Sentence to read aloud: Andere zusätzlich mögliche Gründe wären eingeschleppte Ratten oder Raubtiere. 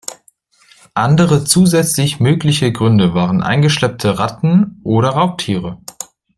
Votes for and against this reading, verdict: 1, 2, rejected